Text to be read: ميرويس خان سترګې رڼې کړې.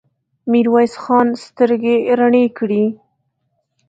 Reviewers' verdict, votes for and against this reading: accepted, 2, 1